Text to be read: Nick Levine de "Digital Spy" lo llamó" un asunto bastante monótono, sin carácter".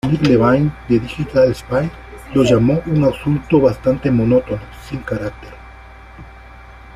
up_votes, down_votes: 2, 0